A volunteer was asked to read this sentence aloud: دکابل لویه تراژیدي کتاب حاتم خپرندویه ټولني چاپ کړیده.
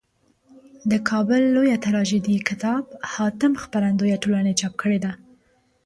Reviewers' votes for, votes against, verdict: 2, 0, accepted